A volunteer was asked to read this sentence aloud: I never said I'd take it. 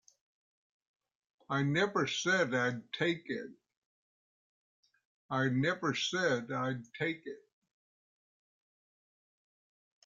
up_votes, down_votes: 1, 2